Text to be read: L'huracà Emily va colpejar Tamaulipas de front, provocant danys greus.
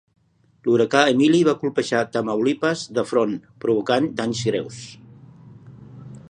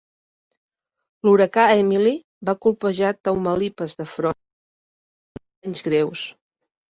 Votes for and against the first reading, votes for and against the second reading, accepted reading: 3, 0, 0, 2, first